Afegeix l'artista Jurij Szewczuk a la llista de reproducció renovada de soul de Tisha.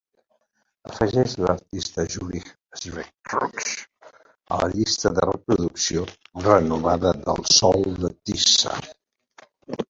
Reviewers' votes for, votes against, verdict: 1, 2, rejected